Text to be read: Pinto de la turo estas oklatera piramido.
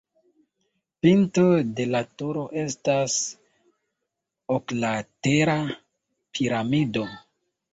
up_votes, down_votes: 2, 0